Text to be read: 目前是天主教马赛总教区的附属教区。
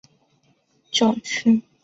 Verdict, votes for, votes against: rejected, 0, 2